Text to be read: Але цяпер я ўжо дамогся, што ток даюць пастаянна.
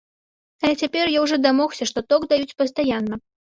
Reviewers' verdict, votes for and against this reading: accepted, 2, 0